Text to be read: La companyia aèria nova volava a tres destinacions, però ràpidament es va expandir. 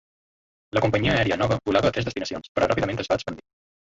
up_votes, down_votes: 1, 2